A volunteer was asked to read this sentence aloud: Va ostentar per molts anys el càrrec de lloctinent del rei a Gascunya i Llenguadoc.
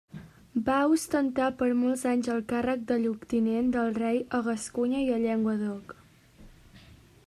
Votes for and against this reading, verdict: 2, 1, accepted